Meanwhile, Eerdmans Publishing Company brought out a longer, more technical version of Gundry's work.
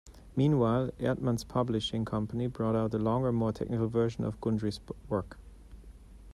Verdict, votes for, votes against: rejected, 1, 2